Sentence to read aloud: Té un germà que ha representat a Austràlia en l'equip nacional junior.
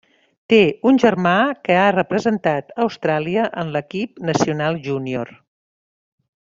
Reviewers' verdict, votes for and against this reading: accepted, 3, 0